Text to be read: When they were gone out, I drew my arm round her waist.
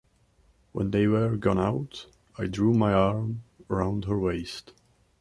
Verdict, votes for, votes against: accepted, 2, 0